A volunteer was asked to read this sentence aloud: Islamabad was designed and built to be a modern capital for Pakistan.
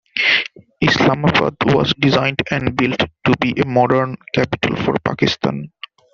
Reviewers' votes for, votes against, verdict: 1, 2, rejected